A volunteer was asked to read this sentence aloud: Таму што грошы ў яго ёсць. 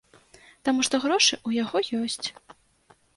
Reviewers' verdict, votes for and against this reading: accepted, 3, 0